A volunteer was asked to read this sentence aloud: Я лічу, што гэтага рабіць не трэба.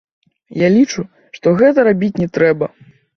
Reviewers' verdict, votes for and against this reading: rejected, 1, 2